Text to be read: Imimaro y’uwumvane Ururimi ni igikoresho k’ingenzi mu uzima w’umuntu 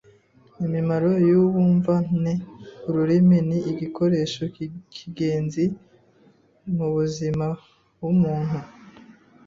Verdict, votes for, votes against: rejected, 1, 2